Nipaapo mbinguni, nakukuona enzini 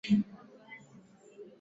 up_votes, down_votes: 1, 34